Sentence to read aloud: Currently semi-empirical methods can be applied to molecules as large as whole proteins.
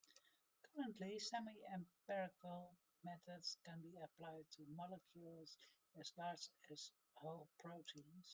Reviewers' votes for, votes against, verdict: 0, 2, rejected